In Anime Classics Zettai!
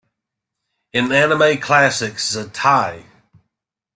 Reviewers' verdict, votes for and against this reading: accepted, 2, 0